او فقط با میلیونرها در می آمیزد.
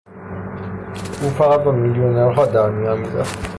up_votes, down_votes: 3, 3